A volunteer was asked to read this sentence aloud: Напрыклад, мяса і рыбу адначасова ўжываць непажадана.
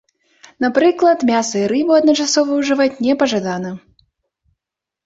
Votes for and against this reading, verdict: 2, 0, accepted